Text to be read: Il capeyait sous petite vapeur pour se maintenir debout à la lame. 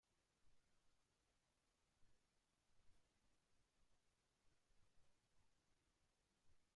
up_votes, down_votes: 0, 2